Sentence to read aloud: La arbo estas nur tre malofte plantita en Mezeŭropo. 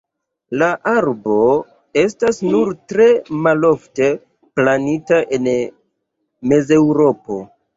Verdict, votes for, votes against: rejected, 0, 2